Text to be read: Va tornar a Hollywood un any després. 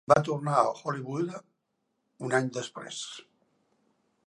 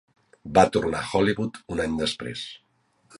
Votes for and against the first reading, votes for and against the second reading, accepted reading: 0, 2, 3, 0, second